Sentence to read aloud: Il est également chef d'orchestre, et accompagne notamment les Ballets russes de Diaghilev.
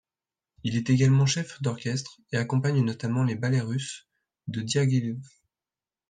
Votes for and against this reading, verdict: 1, 2, rejected